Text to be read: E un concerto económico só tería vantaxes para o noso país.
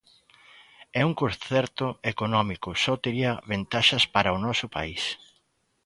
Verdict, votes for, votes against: rejected, 0, 2